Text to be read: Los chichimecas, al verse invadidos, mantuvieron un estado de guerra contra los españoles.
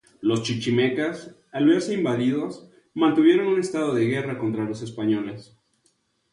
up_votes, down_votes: 2, 0